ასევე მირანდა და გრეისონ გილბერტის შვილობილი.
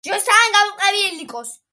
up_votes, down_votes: 1, 2